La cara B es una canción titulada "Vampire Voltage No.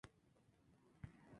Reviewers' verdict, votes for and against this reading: rejected, 0, 2